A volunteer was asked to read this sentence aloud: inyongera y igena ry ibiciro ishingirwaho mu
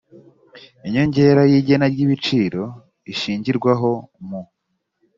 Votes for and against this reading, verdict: 2, 0, accepted